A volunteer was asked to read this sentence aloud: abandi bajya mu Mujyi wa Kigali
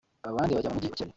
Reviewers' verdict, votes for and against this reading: rejected, 0, 2